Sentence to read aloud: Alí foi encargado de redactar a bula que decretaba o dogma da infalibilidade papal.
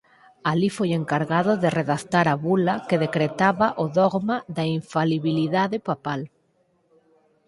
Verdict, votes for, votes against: rejected, 0, 4